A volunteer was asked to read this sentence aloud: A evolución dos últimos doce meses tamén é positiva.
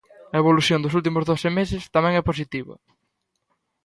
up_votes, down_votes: 2, 0